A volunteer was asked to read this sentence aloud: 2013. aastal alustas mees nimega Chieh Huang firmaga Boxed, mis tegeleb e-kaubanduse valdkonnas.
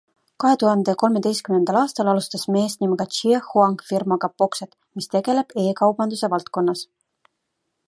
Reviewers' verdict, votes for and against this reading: rejected, 0, 2